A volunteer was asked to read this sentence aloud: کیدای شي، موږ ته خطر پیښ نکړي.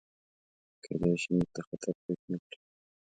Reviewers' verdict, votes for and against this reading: rejected, 0, 2